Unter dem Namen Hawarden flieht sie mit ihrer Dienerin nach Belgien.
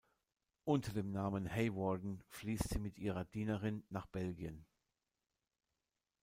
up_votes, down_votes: 1, 2